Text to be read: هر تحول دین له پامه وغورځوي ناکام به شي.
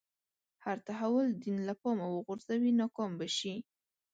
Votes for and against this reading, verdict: 2, 0, accepted